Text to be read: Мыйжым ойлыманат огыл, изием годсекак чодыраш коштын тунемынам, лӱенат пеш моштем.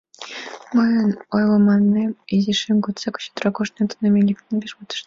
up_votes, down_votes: 1, 2